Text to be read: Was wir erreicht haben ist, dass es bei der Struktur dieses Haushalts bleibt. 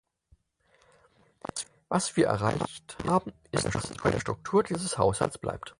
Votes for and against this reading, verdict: 0, 4, rejected